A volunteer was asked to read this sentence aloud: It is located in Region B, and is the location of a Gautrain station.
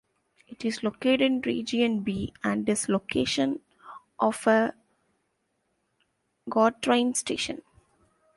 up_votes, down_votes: 1, 2